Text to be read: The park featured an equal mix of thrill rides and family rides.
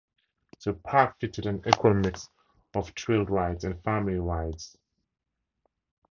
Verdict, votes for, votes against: rejected, 0, 2